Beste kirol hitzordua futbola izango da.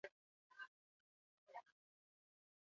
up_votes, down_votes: 0, 4